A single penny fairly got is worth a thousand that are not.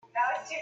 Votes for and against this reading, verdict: 0, 2, rejected